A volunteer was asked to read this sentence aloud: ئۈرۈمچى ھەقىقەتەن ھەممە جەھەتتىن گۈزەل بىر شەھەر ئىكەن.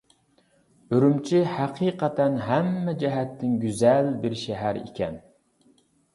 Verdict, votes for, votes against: accepted, 2, 0